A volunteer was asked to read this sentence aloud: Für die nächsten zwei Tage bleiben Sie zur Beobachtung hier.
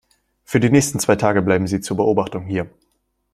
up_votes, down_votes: 2, 0